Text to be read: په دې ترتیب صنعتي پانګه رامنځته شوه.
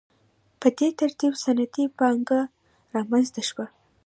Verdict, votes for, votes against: accepted, 2, 0